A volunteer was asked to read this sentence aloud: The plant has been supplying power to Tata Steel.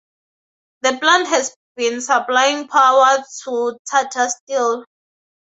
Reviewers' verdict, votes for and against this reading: accepted, 4, 0